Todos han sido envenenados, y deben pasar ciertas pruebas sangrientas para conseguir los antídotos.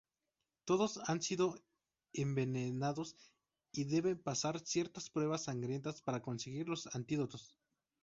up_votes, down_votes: 0, 2